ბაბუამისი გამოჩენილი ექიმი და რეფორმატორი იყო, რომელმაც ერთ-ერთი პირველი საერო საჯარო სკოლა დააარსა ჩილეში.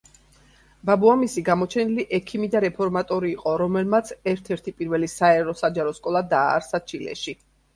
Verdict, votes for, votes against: accepted, 2, 0